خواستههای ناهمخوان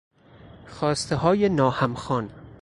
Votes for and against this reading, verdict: 4, 0, accepted